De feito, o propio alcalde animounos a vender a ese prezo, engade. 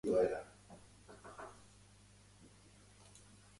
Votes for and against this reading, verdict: 0, 2, rejected